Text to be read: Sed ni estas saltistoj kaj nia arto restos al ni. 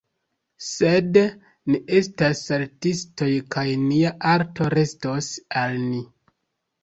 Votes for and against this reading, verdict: 1, 3, rejected